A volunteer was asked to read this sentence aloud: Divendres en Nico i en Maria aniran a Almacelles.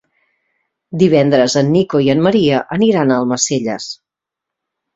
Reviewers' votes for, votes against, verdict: 2, 0, accepted